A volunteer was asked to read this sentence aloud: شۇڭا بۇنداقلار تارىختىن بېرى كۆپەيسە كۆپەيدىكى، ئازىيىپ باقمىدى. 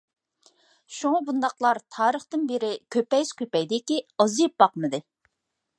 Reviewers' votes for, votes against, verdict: 3, 0, accepted